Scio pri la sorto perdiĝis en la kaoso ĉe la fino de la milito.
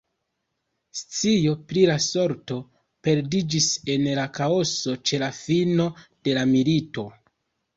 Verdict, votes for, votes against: rejected, 1, 2